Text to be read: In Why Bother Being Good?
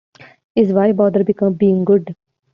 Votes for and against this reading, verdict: 0, 2, rejected